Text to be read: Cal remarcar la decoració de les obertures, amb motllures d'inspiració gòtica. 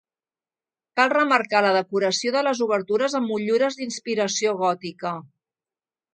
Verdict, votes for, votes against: accepted, 2, 0